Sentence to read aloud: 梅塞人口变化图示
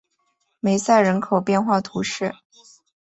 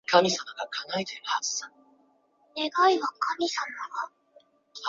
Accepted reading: first